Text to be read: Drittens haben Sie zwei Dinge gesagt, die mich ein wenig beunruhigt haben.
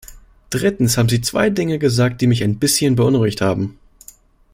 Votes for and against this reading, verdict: 1, 2, rejected